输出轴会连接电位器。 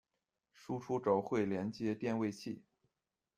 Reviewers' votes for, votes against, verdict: 2, 0, accepted